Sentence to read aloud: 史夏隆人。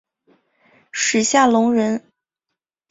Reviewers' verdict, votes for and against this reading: accepted, 2, 0